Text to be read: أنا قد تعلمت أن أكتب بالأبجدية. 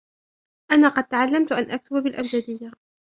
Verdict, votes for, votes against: rejected, 1, 2